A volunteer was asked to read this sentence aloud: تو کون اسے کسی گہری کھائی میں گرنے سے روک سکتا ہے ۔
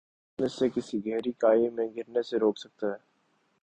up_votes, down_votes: 2, 0